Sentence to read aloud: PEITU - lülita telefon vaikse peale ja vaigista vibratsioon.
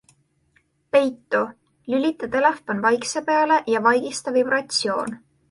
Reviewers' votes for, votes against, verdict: 2, 0, accepted